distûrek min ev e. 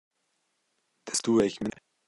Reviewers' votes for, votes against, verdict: 0, 2, rejected